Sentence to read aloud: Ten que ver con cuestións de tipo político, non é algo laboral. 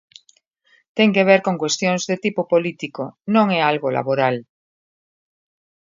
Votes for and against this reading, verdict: 2, 0, accepted